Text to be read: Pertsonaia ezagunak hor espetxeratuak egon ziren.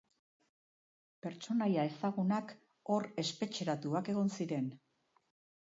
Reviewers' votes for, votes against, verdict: 1, 2, rejected